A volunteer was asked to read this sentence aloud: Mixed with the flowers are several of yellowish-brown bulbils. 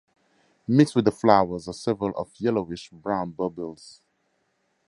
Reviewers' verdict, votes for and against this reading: accepted, 4, 0